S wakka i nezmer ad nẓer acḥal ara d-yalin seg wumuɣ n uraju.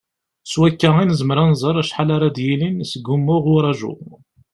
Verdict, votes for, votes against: accepted, 2, 1